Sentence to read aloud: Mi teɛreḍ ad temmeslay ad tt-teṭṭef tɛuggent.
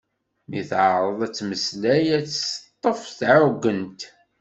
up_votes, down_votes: 2, 0